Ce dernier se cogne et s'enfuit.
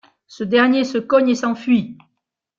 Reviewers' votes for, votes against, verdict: 2, 0, accepted